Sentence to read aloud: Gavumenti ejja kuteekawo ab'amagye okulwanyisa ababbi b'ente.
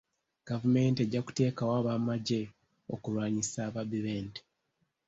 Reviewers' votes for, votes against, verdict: 2, 0, accepted